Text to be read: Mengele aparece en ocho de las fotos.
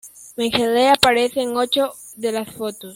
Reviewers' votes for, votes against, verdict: 1, 2, rejected